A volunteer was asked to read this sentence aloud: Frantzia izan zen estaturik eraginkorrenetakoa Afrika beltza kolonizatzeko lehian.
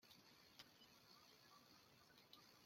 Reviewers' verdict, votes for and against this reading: rejected, 0, 2